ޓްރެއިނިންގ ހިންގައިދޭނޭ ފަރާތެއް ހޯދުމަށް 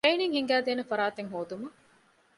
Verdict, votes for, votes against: rejected, 1, 2